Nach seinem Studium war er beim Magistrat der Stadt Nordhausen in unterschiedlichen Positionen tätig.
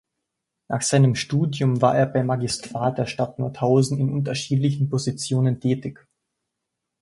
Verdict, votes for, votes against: accepted, 2, 0